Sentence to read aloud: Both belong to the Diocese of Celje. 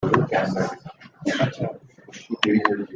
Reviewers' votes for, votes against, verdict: 0, 2, rejected